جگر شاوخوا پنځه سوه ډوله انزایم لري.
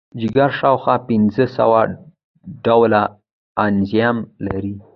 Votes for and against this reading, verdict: 0, 2, rejected